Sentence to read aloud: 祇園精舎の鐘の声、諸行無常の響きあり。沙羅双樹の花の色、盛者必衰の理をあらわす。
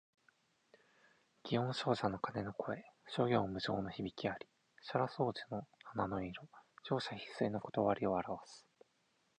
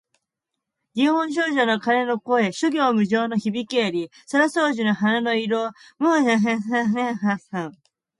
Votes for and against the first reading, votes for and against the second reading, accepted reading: 4, 0, 0, 2, first